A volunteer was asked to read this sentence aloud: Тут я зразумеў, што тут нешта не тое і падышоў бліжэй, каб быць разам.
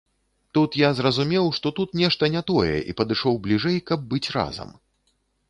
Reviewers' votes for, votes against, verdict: 2, 0, accepted